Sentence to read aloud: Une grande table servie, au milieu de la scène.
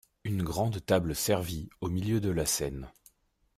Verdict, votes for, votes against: accepted, 2, 0